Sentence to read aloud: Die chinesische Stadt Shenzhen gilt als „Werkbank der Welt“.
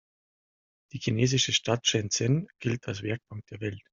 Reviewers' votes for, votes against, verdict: 2, 0, accepted